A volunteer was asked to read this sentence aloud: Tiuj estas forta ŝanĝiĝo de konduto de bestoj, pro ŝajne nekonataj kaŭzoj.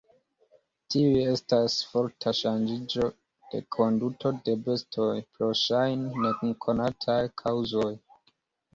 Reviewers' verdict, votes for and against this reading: accepted, 2, 0